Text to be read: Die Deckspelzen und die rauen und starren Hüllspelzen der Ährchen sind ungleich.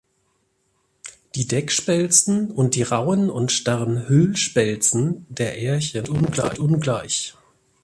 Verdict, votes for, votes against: rejected, 0, 2